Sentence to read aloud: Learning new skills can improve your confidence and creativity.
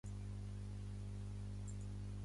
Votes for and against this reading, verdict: 1, 2, rejected